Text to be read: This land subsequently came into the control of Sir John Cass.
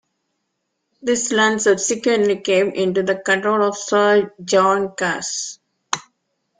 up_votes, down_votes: 2, 0